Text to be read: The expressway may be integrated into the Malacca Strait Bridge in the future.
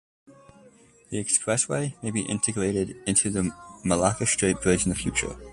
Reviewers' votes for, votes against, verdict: 2, 0, accepted